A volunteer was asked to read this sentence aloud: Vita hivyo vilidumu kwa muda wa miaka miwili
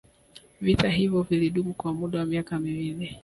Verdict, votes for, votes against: rejected, 1, 2